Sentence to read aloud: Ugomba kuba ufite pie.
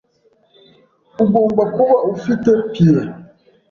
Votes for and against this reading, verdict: 2, 0, accepted